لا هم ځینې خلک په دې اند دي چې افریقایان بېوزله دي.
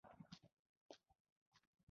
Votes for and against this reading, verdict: 2, 0, accepted